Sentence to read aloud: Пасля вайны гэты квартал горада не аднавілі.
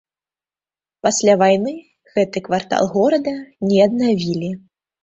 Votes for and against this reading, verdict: 2, 0, accepted